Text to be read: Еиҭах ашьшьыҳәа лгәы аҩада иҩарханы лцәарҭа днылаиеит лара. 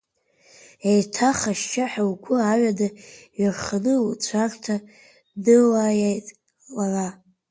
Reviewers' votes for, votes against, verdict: 2, 0, accepted